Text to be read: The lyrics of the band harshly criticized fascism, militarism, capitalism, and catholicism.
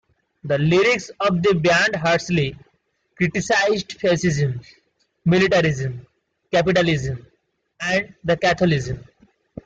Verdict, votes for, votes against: rejected, 0, 2